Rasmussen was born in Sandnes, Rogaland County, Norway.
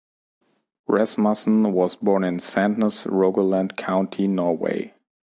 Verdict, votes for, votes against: accepted, 2, 0